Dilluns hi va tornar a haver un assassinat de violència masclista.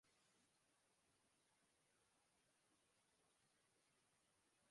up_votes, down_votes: 0, 3